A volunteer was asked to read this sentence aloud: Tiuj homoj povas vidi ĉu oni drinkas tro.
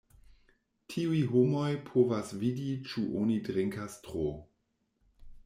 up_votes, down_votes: 2, 0